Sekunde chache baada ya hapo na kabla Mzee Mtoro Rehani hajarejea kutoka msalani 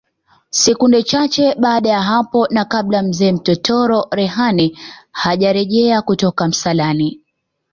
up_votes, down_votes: 2, 1